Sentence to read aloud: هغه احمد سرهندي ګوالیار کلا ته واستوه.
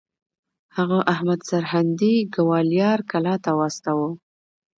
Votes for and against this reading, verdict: 2, 0, accepted